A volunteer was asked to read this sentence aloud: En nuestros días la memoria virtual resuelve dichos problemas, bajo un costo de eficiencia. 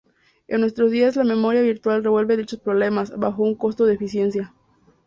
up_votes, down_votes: 0, 2